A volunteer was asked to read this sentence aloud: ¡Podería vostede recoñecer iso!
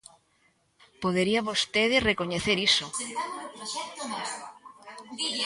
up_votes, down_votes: 0, 2